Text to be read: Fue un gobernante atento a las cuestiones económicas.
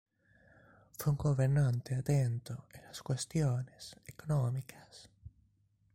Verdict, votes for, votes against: rejected, 2, 3